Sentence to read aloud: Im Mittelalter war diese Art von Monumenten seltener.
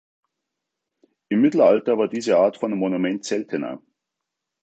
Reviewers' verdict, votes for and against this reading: rejected, 0, 2